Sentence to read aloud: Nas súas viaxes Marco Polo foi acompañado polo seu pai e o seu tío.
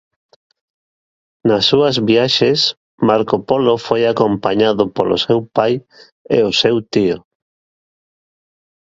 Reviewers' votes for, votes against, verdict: 2, 0, accepted